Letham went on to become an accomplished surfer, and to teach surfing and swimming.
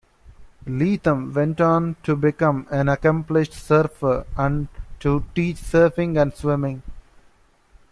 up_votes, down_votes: 1, 2